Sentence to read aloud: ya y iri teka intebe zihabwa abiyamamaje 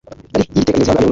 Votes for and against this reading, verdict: 1, 2, rejected